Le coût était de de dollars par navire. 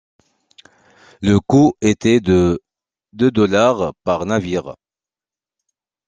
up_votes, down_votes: 2, 1